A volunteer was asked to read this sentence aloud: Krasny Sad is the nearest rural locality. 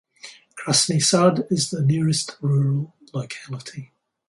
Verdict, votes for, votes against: accepted, 4, 0